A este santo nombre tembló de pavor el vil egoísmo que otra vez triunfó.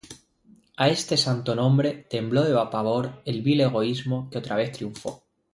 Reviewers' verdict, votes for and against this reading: rejected, 0, 2